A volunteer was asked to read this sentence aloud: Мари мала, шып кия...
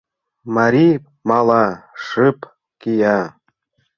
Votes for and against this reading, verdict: 2, 0, accepted